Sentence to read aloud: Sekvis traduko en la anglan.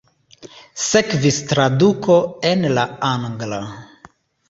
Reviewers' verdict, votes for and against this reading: rejected, 1, 2